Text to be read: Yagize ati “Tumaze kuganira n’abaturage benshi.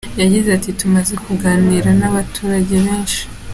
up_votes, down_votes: 2, 0